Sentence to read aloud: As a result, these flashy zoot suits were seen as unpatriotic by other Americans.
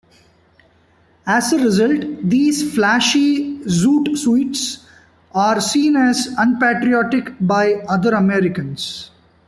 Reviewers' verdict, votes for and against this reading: rejected, 0, 2